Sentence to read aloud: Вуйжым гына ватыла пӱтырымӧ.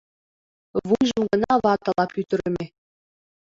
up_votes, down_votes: 2, 1